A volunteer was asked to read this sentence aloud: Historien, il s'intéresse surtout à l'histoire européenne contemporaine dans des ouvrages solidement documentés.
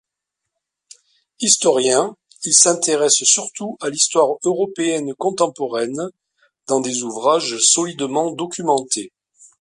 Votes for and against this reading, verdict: 2, 0, accepted